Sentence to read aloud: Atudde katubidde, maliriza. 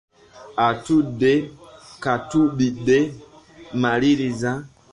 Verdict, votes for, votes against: rejected, 1, 2